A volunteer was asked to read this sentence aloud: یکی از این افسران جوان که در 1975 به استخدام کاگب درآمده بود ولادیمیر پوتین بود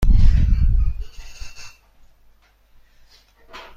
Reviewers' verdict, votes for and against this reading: rejected, 0, 2